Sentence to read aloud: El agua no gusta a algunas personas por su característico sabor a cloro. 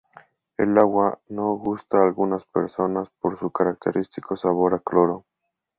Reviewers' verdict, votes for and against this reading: accepted, 2, 0